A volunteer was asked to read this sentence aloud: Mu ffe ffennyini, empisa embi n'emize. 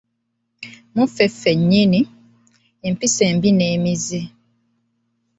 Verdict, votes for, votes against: accepted, 2, 0